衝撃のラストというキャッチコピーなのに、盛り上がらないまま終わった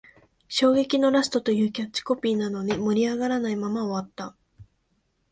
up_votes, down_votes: 6, 0